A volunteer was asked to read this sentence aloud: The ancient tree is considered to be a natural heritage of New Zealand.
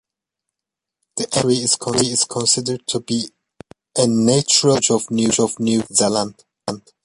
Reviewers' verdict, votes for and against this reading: rejected, 0, 2